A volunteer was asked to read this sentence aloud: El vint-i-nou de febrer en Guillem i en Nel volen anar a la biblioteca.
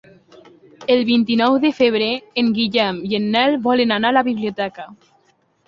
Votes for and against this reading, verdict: 2, 0, accepted